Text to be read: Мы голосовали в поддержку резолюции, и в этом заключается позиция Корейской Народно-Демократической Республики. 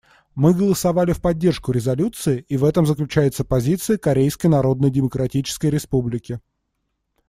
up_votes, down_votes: 2, 0